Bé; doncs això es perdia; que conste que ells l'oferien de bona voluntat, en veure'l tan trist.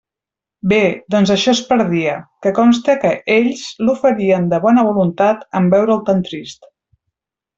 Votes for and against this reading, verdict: 2, 0, accepted